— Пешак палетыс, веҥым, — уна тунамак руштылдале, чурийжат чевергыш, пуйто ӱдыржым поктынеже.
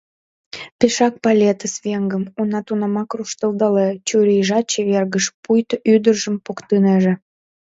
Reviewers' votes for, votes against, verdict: 0, 2, rejected